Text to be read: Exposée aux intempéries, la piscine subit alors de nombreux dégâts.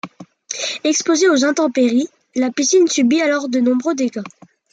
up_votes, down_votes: 2, 0